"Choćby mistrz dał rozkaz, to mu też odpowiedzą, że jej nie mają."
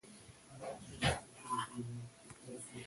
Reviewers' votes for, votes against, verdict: 0, 2, rejected